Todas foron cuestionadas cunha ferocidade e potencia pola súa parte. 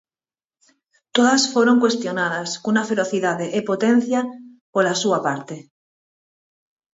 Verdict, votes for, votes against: accepted, 4, 0